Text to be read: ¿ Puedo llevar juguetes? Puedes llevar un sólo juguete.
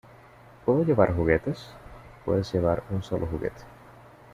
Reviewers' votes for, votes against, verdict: 2, 0, accepted